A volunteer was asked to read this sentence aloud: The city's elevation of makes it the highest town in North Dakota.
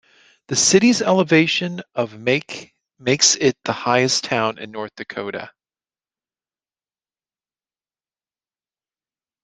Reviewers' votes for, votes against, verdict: 1, 2, rejected